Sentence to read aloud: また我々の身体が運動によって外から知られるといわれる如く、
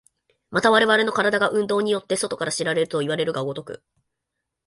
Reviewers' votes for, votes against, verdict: 1, 2, rejected